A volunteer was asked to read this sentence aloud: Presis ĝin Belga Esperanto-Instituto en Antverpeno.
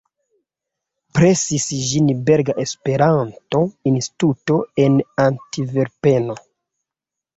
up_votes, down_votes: 1, 4